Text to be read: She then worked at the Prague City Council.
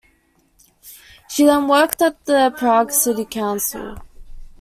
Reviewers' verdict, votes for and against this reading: accepted, 2, 0